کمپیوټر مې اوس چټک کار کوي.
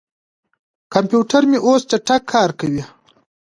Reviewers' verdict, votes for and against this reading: accepted, 2, 0